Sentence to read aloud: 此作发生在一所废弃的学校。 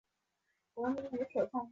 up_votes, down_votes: 0, 2